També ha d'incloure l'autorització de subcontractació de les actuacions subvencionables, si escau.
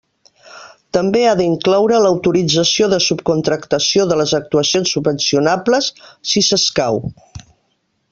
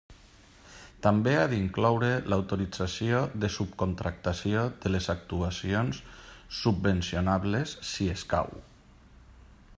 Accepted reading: second